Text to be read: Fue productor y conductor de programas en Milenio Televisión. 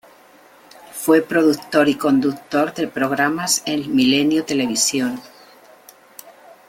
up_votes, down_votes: 2, 0